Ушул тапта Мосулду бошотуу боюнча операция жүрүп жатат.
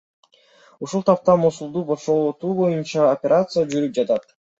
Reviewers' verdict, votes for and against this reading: accepted, 2, 0